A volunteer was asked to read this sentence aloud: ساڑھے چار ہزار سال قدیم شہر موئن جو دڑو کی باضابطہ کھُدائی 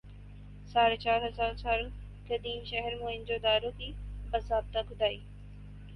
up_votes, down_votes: 2, 2